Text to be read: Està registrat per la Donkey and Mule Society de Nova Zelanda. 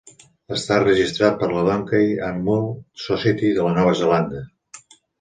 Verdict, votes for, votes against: rejected, 0, 2